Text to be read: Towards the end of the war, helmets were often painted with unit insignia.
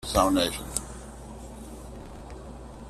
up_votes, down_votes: 0, 2